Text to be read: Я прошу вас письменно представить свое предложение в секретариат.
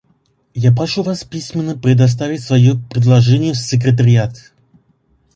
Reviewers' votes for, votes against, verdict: 2, 0, accepted